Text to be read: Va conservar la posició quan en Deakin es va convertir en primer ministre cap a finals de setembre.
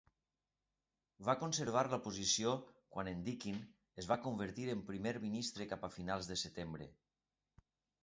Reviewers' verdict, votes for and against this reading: accepted, 2, 0